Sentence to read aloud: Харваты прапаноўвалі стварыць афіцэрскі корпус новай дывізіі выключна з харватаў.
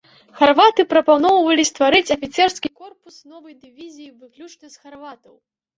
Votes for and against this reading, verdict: 0, 2, rejected